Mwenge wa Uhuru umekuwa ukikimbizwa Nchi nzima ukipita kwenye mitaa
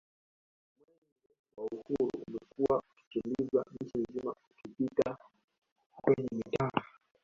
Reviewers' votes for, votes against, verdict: 0, 2, rejected